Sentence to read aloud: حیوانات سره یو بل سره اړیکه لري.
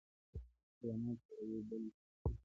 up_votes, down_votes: 0, 2